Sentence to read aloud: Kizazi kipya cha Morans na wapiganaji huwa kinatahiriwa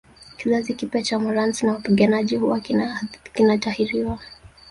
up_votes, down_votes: 1, 2